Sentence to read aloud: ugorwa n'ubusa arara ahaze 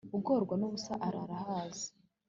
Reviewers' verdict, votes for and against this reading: accepted, 2, 0